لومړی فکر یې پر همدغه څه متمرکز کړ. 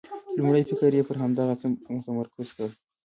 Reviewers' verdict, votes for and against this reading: rejected, 0, 2